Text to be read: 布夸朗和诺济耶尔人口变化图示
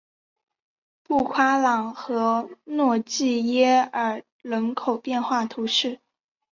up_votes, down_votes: 2, 0